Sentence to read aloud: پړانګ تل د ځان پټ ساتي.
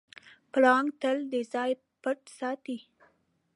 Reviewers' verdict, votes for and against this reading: rejected, 1, 2